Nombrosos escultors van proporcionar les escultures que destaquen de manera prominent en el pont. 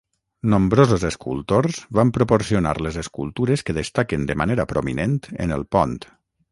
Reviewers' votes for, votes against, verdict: 6, 0, accepted